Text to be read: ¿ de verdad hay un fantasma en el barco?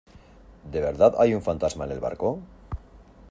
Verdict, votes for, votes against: accepted, 2, 0